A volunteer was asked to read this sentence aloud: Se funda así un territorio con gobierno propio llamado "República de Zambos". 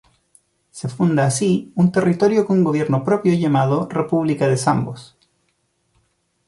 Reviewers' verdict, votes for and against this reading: accepted, 2, 1